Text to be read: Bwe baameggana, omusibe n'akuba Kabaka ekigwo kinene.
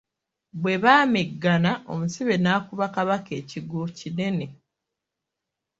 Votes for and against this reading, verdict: 2, 0, accepted